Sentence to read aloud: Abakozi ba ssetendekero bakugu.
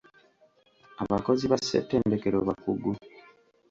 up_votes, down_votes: 2, 0